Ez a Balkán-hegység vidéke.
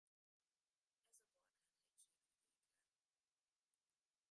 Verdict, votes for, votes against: rejected, 0, 2